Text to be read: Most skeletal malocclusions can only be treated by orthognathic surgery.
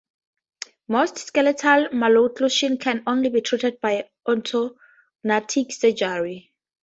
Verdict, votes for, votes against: rejected, 0, 2